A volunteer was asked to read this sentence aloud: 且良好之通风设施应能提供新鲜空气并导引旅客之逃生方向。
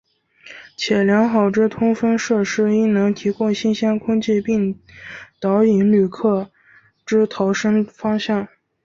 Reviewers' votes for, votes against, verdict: 2, 0, accepted